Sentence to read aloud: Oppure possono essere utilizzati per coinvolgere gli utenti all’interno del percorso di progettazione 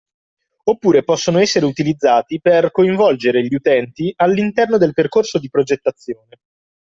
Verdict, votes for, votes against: rejected, 1, 2